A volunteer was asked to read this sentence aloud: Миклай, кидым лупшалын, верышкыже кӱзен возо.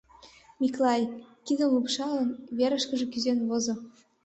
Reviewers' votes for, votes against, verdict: 2, 0, accepted